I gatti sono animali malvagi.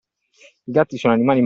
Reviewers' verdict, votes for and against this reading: rejected, 0, 2